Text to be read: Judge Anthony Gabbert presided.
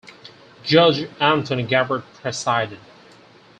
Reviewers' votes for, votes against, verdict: 4, 0, accepted